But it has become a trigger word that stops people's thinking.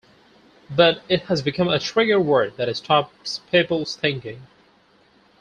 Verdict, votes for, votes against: rejected, 2, 2